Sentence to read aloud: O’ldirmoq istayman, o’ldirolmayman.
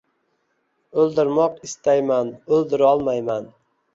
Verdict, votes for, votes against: accepted, 2, 0